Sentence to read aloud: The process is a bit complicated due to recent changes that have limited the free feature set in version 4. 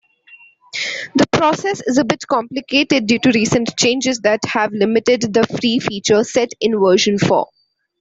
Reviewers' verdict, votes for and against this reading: rejected, 0, 2